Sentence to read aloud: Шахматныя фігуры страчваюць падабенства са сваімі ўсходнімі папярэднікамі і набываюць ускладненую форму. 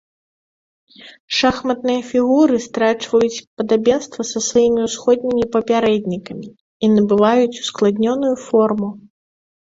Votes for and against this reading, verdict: 2, 0, accepted